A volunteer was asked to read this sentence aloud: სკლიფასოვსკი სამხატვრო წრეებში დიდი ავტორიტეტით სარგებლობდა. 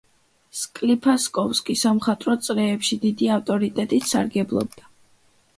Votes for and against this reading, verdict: 1, 2, rejected